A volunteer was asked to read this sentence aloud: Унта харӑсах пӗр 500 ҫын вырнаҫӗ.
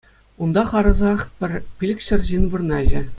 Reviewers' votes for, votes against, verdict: 0, 2, rejected